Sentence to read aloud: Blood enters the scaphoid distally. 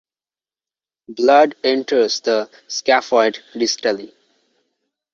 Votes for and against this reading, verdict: 2, 0, accepted